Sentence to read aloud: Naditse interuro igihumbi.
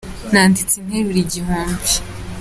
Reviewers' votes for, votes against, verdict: 2, 0, accepted